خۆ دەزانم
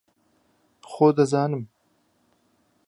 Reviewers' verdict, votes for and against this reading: accepted, 3, 0